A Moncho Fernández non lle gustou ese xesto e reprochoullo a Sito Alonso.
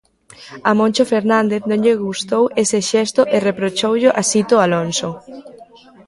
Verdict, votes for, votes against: rejected, 1, 2